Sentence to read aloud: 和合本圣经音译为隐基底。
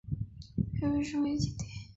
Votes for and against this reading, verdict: 0, 3, rejected